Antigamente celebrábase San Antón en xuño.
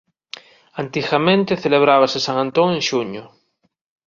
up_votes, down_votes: 2, 0